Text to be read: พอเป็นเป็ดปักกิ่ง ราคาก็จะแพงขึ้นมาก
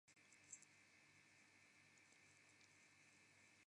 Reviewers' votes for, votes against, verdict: 0, 2, rejected